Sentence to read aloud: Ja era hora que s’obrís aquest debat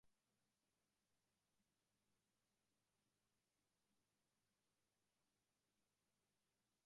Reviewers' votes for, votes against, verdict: 0, 2, rejected